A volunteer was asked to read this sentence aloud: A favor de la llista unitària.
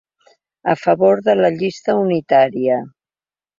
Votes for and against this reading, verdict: 3, 0, accepted